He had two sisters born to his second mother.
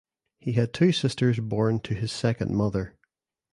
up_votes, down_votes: 2, 0